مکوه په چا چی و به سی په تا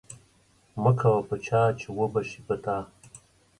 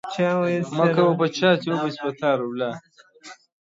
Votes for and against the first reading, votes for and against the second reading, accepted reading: 2, 0, 1, 2, first